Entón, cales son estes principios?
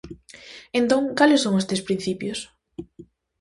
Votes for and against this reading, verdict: 2, 0, accepted